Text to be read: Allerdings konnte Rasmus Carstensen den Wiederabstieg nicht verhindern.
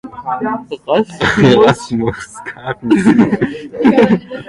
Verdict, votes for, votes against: rejected, 0, 2